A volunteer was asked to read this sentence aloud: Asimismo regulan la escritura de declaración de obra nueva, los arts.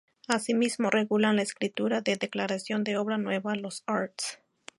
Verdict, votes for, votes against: accepted, 2, 0